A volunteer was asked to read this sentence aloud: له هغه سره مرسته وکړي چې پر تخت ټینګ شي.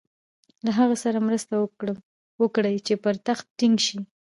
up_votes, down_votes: 0, 2